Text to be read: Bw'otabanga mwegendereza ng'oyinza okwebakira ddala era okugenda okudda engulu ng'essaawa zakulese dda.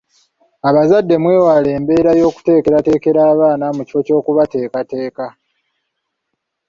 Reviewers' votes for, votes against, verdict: 0, 2, rejected